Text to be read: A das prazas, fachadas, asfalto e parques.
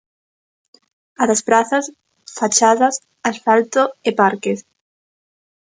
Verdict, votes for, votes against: accepted, 3, 0